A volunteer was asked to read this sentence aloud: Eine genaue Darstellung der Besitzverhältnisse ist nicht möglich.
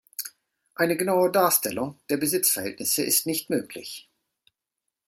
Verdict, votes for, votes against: accepted, 2, 0